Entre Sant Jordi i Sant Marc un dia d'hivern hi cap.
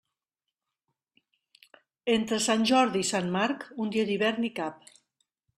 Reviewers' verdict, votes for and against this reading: accepted, 2, 0